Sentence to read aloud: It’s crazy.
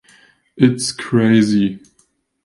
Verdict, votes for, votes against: accepted, 2, 0